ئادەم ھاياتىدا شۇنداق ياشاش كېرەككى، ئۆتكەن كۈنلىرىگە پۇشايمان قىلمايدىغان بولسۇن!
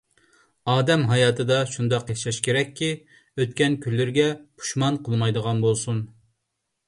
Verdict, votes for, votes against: rejected, 0, 2